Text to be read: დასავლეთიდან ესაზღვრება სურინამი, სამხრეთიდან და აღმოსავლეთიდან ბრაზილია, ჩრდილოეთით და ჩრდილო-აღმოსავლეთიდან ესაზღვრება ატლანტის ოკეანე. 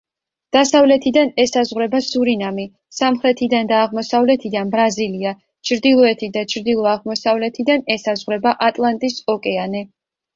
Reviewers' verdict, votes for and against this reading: accepted, 2, 0